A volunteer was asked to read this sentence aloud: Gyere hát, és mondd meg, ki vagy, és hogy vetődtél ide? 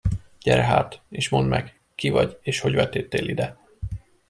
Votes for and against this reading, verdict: 2, 0, accepted